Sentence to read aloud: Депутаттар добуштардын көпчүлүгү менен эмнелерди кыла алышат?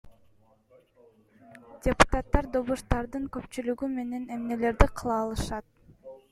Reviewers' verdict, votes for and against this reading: rejected, 1, 2